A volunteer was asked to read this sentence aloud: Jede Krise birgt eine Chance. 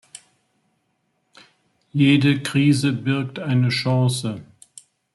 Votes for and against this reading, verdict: 2, 0, accepted